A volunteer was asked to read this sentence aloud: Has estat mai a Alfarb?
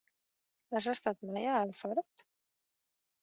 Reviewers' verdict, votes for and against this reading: rejected, 2, 3